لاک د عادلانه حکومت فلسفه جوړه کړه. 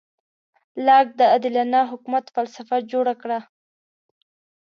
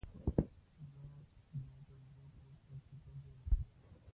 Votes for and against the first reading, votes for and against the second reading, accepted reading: 2, 0, 1, 2, first